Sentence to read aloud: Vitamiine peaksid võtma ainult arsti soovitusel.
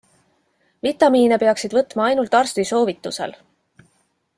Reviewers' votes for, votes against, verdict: 2, 0, accepted